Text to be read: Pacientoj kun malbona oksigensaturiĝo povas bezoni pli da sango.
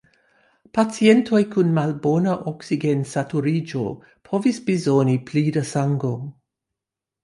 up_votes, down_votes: 0, 2